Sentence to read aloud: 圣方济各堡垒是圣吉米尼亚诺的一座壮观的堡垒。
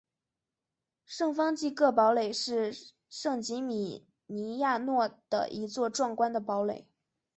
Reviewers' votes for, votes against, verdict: 2, 0, accepted